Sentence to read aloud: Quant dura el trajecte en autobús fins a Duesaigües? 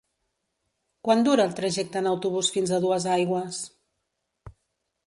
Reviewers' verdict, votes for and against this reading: accepted, 3, 0